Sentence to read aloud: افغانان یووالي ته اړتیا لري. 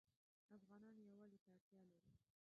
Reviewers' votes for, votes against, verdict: 1, 2, rejected